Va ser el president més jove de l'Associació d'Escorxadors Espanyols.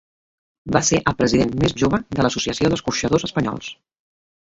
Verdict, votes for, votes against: accepted, 2, 1